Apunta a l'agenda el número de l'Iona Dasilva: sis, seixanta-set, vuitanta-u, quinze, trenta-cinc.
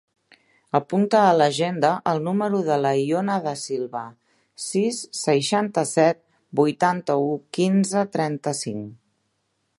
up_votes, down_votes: 0, 2